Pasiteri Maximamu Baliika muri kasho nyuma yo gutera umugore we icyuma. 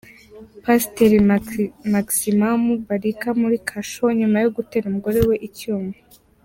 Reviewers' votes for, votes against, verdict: 1, 2, rejected